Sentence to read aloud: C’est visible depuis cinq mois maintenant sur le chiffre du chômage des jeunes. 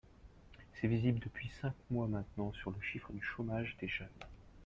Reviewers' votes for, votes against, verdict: 1, 2, rejected